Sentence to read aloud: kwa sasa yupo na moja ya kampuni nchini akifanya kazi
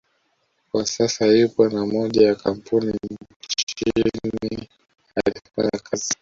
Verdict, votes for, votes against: rejected, 1, 2